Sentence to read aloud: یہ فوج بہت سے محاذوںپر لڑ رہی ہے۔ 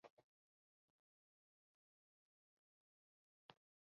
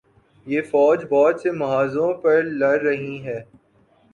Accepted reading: second